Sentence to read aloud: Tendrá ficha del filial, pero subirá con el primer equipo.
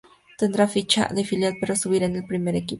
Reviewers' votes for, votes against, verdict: 0, 2, rejected